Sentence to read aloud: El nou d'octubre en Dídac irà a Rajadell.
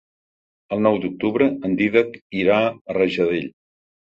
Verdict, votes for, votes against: accepted, 4, 0